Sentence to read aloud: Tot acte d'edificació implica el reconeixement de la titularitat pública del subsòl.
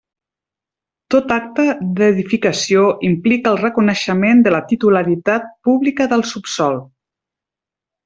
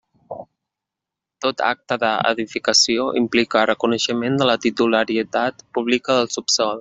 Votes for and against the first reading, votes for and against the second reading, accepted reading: 3, 0, 0, 2, first